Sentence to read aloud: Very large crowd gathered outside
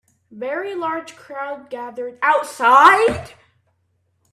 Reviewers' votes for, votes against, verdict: 1, 2, rejected